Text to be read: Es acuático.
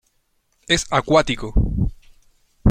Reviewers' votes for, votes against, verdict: 2, 0, accepted